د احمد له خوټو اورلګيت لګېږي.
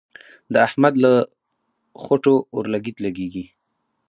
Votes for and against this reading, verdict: 2, 2, rejected